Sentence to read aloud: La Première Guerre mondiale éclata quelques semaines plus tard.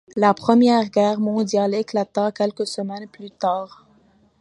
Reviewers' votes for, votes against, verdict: 2, 0, accepted